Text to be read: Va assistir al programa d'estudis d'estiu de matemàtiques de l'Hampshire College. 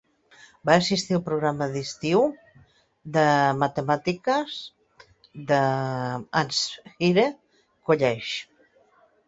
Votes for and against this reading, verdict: 0, 2, rejected